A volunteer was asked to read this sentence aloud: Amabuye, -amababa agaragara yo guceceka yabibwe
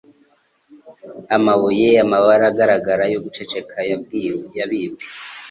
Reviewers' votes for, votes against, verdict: 1, 2, rejected